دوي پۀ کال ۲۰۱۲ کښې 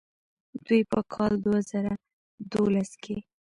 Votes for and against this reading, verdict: 0, 2, rejected